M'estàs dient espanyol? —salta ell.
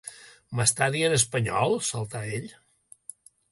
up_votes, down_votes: 2, 0